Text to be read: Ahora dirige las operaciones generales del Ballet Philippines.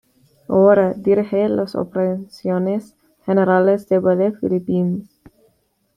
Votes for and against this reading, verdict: 2, 1, accepted